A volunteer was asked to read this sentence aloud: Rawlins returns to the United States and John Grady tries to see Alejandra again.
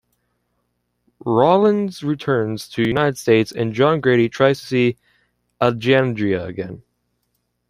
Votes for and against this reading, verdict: 2, 0, accepted